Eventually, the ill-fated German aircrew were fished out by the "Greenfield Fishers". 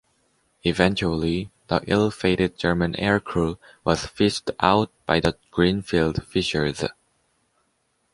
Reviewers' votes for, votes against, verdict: 1, 2, rejected